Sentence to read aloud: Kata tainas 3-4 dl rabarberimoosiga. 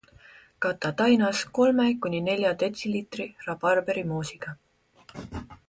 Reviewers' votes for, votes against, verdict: 0, 2, rejected